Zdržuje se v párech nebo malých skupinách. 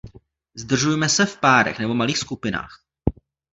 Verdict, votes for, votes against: rejected, 0, 2